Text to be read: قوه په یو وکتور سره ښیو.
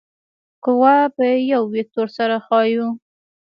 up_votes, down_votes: 1, 2